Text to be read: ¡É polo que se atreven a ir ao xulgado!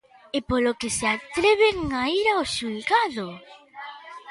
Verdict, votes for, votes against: rejected, 1, 2